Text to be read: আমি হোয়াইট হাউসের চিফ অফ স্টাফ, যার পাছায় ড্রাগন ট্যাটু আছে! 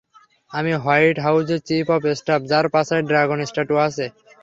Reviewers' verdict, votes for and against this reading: accepted, 3, 0